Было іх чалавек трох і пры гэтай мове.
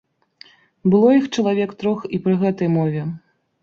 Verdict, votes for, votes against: accepted, 4, 0